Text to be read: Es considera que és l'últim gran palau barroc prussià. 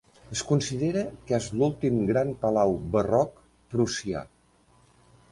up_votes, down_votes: 3, 0